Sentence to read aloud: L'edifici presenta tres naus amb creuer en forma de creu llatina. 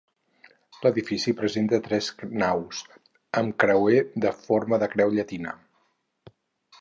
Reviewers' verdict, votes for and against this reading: rejected, 2, 2